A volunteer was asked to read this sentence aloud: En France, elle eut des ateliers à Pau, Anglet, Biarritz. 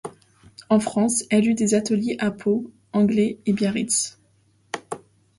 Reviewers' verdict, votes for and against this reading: accepted, 2, 0